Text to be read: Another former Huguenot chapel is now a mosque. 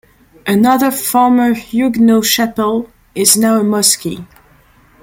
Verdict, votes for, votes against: rejected, 0, 2